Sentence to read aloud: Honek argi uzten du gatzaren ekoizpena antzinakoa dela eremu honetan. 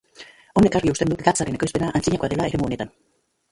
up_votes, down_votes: 1, 3